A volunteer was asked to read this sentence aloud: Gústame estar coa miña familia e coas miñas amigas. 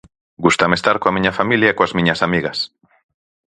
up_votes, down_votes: 4, 0